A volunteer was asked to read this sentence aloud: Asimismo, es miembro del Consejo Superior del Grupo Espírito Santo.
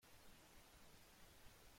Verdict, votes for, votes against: rejected, 0, 2